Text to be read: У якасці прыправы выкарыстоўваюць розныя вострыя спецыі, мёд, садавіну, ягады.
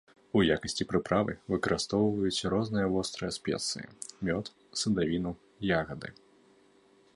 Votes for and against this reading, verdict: 2, 0, accepted